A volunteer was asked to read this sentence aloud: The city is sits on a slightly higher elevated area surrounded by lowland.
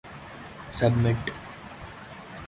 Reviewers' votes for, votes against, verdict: 0, 2, rejected